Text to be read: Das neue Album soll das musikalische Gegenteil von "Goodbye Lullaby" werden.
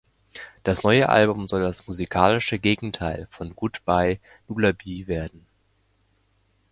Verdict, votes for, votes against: rejected, 1, 2